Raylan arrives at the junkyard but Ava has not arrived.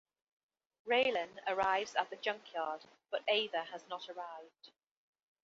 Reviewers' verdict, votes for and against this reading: accepted, 2, 0